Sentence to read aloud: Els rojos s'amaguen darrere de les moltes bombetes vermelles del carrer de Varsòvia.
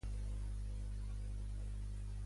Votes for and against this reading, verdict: 0, 2, rejected